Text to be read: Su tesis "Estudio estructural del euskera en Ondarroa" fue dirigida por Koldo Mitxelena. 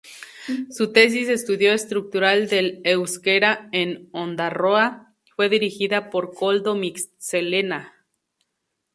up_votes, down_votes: 2, 0